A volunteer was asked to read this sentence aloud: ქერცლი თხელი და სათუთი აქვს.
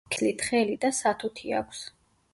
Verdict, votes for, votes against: rejected, 1, 2